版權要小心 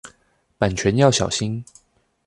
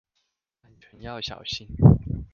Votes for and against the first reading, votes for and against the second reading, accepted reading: 2, 0, 0, 2, first